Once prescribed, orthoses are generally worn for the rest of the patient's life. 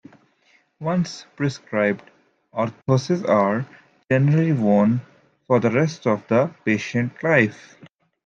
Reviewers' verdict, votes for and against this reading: accepted, 2, 0